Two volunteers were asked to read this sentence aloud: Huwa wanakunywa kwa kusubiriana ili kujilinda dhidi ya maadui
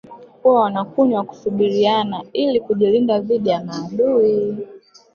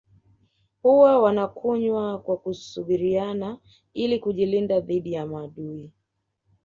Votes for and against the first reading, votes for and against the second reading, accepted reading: 1, 2, 2, 0, second